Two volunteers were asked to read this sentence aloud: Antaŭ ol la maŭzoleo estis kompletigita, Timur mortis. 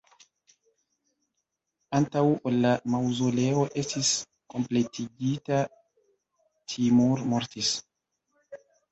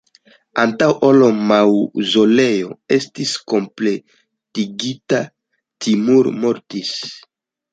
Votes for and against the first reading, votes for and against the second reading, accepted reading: 1, 2, 2, 1, second